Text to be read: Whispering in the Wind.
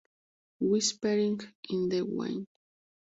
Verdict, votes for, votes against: rejected, 0, 2